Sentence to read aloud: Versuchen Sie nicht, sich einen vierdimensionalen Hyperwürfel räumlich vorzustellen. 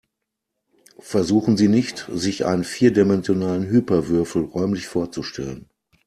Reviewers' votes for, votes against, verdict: 2, 0, accepted